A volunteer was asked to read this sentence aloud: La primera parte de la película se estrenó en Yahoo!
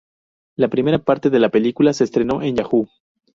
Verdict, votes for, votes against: accepted, 2, 0